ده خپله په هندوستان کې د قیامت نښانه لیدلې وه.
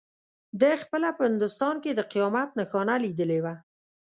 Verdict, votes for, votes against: accepted, 2, 0